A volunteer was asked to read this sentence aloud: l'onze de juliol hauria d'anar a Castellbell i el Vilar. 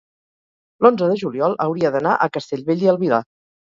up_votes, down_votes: 0, 2